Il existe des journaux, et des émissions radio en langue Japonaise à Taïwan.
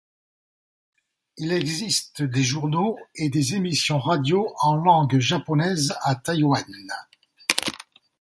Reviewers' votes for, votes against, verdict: 2, 0, accepted